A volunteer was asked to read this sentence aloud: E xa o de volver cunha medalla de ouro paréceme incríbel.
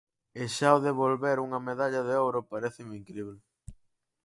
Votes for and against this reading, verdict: 0, 4, rejected